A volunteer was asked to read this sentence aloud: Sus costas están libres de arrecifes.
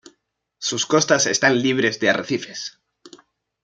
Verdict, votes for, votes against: accepted, 2, 0